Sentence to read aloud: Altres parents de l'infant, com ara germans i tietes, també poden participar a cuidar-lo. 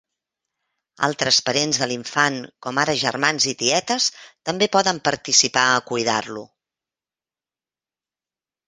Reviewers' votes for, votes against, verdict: 3, 0, accepted